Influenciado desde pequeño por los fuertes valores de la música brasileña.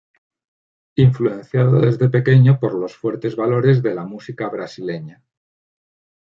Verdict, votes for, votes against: rejected, 1, 2